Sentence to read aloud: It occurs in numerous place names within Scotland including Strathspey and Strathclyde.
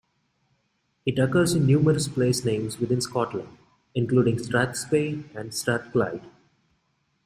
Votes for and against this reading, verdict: 1, 2, rejected